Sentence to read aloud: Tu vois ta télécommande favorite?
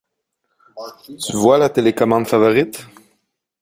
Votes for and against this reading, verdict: 0, 2, rejected